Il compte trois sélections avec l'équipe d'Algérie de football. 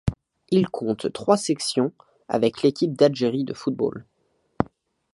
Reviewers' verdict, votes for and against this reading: rejected, 1, 2